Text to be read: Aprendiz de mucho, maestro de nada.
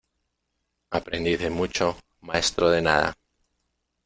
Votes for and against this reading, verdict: 1, 2, rejected